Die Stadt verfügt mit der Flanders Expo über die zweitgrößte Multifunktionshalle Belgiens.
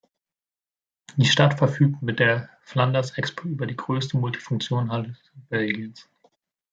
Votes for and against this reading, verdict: 0, 2, rejected